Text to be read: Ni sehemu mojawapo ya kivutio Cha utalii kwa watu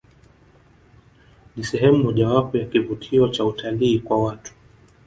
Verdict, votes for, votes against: rejected, 1, 2